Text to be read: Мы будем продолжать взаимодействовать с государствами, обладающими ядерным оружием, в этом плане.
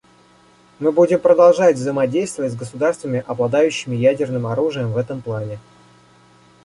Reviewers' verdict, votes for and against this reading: accepted, 2, 0